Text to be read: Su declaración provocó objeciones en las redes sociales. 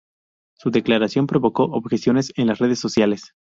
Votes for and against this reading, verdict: 0, 2, rejected